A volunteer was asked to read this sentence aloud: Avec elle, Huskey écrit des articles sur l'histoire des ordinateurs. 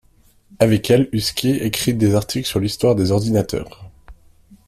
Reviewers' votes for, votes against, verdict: 2, 0, accepted